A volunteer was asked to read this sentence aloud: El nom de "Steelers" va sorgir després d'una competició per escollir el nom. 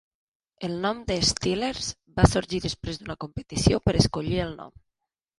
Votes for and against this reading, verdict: 3, 0, accepted